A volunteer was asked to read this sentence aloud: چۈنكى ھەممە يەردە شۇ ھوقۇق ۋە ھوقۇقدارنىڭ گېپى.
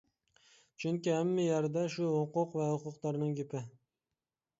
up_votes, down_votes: 2, 0